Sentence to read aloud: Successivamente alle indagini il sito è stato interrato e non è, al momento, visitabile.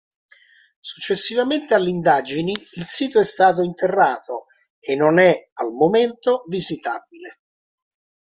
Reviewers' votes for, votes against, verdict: 2, 0, accepted